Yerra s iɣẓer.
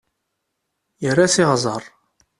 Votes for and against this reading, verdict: 2, 0, accepted